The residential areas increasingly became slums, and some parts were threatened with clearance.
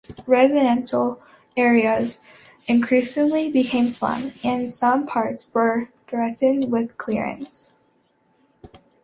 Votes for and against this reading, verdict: 2, 0, accepted